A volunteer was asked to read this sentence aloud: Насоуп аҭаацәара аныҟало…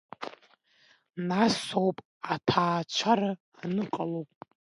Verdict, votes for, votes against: accepted, 2, 0